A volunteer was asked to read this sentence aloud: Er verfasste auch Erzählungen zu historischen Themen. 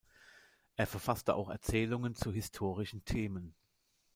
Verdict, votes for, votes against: accepted, 2, 0